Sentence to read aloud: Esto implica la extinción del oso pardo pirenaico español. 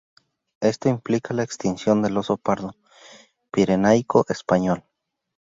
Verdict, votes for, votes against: accepted, 2, 0